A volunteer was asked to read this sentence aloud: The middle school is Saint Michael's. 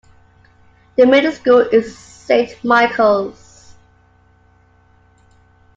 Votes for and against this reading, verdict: 2, 1, accepted